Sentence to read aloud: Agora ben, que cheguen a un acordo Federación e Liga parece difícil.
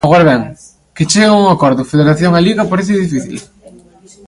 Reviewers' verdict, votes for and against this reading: rejected, 0, 2